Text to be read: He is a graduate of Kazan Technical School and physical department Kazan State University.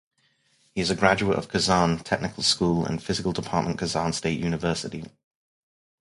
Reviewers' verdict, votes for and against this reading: accepted, 2, 0